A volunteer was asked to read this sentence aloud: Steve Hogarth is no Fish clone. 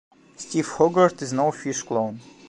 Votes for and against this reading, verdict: 0, 2, rejected